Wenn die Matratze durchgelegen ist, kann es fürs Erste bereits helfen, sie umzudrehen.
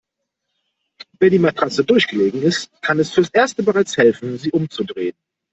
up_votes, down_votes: 2, 0